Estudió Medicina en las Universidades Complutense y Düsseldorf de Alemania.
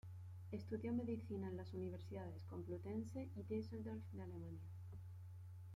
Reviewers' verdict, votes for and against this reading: rejected, 0, 2